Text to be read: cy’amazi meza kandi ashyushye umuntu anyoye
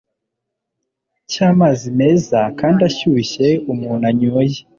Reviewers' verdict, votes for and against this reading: accepted, 2, 0